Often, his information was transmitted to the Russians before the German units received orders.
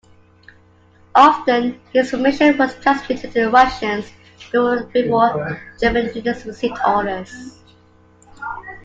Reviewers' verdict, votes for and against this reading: accepted, 2, 1